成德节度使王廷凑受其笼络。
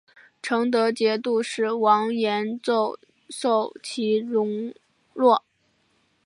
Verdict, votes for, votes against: rejected, 0, 2